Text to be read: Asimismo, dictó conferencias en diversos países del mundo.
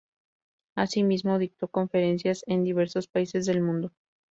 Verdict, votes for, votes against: rejected, 2, 2